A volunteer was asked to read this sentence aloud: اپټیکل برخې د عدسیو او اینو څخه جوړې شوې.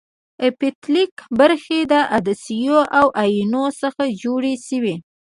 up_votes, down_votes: 2, 1